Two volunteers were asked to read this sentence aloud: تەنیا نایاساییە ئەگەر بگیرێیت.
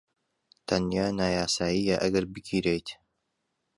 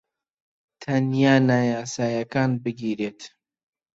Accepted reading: first